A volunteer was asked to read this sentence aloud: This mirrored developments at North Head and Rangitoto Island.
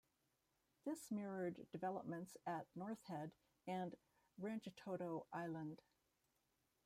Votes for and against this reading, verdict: 2, 3, rejected